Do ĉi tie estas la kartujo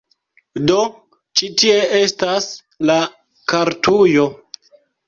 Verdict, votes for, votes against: accepted, 2, 1